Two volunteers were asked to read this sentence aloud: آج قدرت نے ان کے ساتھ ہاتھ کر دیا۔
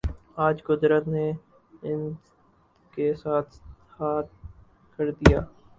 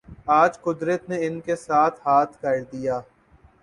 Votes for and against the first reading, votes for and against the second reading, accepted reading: 2, 2, 4, 0, second